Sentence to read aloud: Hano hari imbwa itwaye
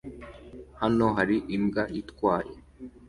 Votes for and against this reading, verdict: 2, 0, accepted